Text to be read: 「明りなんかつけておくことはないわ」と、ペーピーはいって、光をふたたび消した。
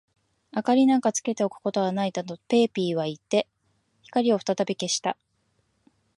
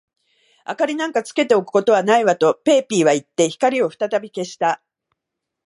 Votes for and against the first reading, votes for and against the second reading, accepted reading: 1, 2, 2, 0, second